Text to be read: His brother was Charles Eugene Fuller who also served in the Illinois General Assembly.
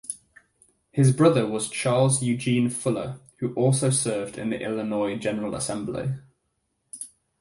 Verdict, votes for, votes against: accepted, 4, 0